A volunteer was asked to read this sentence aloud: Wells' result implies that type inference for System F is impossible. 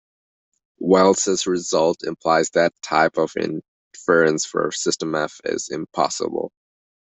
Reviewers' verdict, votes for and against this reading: rejected, 0, 2